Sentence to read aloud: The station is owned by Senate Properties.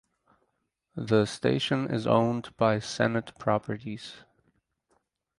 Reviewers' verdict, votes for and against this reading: accepted, 4, 0